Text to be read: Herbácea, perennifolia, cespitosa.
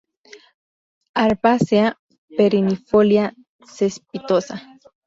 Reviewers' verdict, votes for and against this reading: rejected, 0, 2